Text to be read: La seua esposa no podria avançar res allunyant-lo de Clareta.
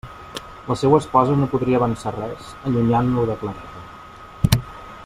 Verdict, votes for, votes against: rejected, 1, 2